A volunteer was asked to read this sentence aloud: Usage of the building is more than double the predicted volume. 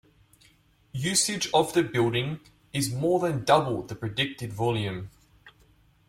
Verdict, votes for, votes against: accepted, 2, 0